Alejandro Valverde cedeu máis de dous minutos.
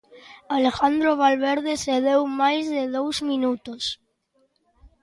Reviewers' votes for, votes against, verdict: 2, 0, accepted